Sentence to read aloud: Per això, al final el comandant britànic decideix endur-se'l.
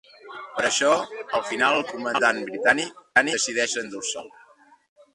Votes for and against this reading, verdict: 1, 3, rejected